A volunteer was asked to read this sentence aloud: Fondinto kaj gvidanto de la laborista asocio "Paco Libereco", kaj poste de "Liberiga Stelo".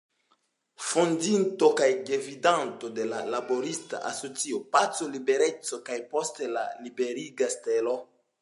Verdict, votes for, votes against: accepted, 2, 1